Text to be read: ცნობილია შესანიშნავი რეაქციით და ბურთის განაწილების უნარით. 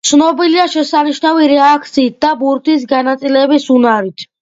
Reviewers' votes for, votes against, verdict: 2, 0, accepted